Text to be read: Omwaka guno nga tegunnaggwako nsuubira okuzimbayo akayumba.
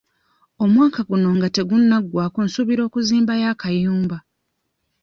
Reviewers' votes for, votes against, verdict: 2, 0, accepted